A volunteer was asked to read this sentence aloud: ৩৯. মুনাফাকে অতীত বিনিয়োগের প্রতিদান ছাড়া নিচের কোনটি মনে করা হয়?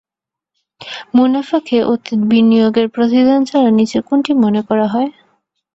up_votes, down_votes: 0, 2